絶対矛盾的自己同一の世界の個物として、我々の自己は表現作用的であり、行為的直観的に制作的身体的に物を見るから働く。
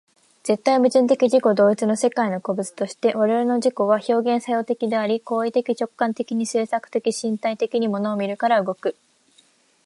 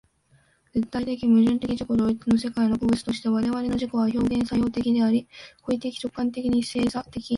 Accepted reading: first